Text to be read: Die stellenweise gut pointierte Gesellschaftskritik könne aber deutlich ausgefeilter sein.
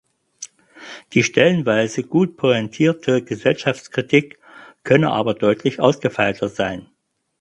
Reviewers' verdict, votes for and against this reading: accepted, 4, 0